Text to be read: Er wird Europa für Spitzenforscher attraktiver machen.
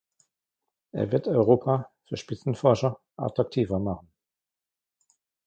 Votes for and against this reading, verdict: 0, 2, rejected